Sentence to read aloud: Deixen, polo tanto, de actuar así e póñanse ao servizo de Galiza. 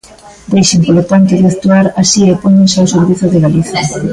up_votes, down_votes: 0, 2